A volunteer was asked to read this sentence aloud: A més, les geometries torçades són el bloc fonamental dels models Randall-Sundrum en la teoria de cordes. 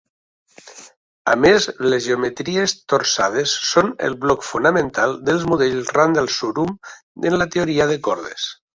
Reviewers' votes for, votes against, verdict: 2, 0, accepted